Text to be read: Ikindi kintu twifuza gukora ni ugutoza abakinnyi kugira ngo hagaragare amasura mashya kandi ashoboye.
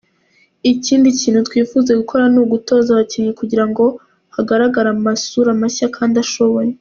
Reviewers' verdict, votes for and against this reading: accepted, 2, 1